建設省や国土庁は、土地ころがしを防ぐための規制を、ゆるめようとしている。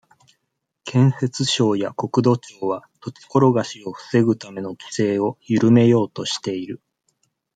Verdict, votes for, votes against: accepted, 2, 0